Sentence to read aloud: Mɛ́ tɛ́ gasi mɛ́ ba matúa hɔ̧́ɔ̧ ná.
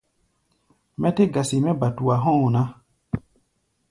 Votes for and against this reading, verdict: 1, 2, rejected